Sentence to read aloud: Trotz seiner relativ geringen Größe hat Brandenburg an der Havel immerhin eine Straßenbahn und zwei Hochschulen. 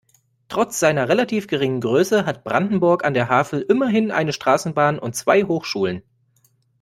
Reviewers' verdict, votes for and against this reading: accepted, 2, 0